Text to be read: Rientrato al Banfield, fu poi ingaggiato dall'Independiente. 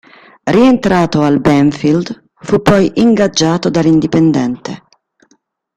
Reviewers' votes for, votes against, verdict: 1, 2, rejected